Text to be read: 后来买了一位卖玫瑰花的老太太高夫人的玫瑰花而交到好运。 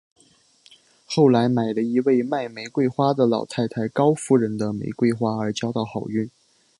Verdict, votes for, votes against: accepted, 5, 0